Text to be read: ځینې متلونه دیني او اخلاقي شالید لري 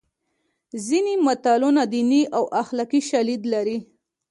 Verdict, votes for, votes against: accepted, 2, 0